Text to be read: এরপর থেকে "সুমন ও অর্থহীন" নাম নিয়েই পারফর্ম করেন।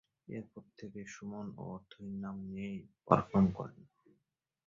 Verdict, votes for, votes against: rejected, 8, 17